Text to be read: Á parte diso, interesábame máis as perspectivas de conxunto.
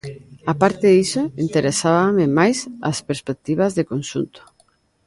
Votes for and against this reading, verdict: 2, 0, accepted